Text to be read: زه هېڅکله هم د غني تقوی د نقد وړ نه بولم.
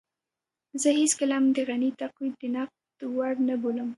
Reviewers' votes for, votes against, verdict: 1, 2, rejected